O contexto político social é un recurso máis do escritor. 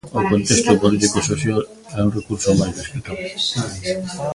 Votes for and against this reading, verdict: 0, 2, rejected